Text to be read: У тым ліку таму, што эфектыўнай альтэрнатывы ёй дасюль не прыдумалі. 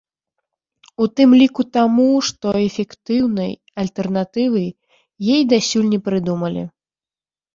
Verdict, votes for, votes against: rejected, 1, 2